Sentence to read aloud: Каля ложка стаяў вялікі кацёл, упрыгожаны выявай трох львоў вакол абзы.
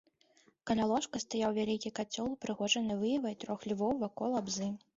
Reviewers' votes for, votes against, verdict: 0, 2, rejected